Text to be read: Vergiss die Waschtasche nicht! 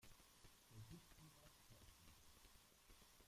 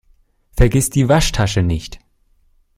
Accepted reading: second